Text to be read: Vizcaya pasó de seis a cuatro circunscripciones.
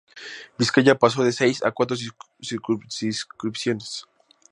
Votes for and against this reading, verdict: 2, 0, accepted